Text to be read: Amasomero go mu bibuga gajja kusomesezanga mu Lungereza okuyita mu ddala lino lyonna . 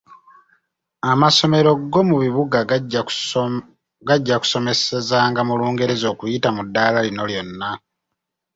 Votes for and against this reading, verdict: 0, 2, rejected